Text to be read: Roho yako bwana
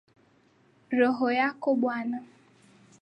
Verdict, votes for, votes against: accepted, 7, 3